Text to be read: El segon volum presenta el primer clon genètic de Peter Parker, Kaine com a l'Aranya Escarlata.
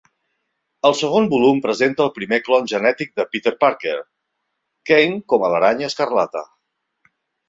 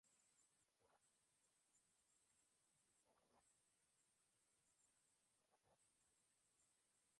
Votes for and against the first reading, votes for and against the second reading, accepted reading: 4, 0, 1, 2, first